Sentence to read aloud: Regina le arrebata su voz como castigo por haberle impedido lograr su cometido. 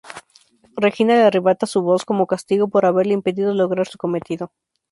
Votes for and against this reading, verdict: 2, 0, accepted